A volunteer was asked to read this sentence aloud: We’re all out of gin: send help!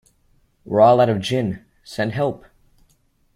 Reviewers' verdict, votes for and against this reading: accepted, 2, 0